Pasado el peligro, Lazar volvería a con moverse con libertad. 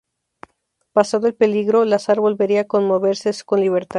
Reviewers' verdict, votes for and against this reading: accepted, 2, 0